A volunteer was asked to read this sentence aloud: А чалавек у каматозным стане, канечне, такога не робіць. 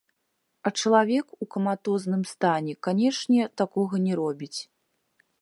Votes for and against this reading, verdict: 0, 2, rejected